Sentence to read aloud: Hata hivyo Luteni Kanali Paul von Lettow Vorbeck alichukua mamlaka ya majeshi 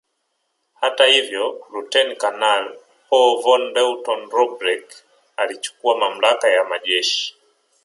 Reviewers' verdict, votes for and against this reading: accepted, 11, 4